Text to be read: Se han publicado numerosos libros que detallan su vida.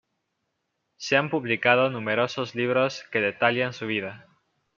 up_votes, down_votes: 2, 0